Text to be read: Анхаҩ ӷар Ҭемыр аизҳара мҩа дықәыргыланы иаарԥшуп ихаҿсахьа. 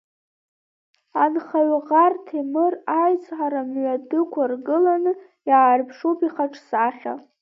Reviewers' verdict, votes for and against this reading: rejected, 1, 2